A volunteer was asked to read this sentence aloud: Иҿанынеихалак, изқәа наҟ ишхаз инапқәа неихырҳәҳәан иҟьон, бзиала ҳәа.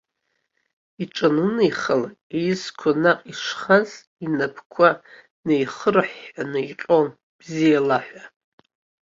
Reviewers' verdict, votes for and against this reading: accepted, 2, 0